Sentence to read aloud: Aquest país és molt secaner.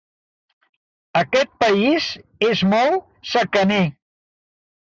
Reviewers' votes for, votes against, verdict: 2, 1, accepted